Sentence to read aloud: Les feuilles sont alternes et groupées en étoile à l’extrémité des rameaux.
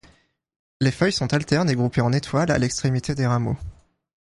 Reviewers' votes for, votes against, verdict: 2, 0, accepted